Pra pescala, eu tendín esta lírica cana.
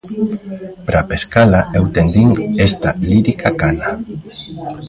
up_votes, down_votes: 1, 2